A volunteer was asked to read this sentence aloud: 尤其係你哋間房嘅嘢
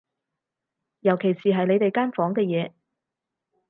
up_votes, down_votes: 0, 4